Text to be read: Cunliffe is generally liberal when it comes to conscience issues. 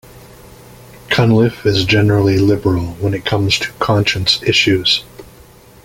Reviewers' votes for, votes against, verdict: 2, 1, accepted